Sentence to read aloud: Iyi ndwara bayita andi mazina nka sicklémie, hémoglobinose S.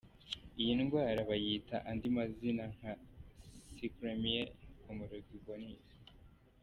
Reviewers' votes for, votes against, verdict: 0, 2, rejected